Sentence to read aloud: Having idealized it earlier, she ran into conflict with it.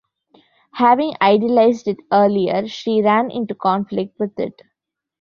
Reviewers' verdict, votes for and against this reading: accepted, 2, 0